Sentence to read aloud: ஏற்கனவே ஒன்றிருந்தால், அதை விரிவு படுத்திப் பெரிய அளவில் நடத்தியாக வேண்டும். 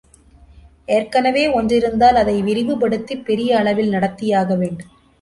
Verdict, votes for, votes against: accepted, 2, 1